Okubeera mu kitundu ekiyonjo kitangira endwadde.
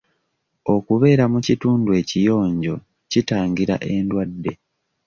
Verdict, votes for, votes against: accepted, 2, 0